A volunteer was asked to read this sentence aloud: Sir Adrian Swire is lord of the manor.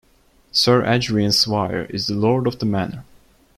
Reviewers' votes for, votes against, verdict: 0, 2, rejected